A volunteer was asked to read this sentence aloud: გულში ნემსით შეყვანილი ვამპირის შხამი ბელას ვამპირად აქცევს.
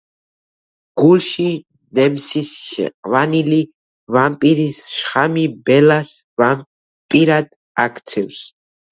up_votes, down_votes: 1, 2